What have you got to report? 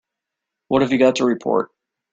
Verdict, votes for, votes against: accepted, 2, 1